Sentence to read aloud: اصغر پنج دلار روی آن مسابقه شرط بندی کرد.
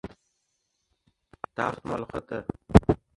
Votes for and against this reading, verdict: 0, 2, rejected